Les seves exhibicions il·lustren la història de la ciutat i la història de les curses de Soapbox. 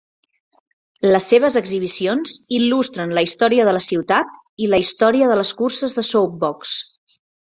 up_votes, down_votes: 3, 0